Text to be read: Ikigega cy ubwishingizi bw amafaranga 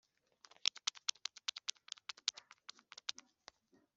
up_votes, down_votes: 0, 2